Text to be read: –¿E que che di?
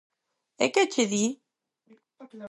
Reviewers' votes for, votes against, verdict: 0, 4, rejected